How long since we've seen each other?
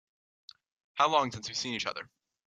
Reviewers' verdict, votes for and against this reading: accepted, 3, 0